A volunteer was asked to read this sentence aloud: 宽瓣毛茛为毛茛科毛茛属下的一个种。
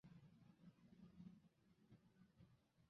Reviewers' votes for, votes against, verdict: 0, 6, rejected